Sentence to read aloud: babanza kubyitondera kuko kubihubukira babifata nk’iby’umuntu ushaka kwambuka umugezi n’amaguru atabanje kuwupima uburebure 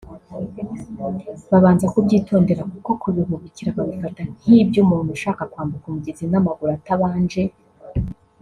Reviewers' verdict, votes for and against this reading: rejected, 1, 2